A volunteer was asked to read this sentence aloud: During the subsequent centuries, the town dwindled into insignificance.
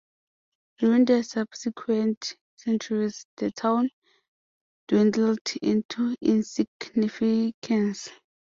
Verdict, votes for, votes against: accepted, 2, 0